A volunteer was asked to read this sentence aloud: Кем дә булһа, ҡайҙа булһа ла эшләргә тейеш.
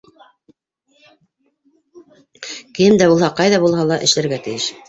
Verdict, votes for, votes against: rejected, 1, 2